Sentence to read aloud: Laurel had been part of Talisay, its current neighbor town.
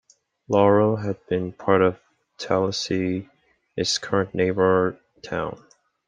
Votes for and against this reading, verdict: 3, 0, accepted